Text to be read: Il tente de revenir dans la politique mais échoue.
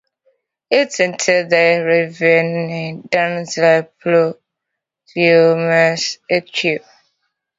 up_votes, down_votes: 0, 2